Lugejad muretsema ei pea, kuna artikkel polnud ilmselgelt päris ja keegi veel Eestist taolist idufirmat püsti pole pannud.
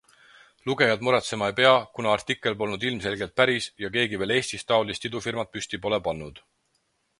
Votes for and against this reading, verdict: 4, 0, accepted